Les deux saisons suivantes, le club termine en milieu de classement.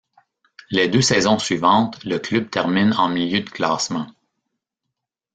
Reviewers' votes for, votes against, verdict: 2, 0, accepted